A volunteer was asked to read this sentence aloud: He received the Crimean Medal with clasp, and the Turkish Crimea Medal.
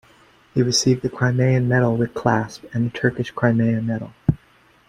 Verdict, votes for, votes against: accepted, 2, 0